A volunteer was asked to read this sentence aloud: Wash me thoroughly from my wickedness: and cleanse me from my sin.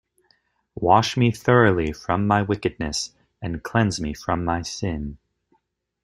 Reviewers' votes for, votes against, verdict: 2, 0, accepted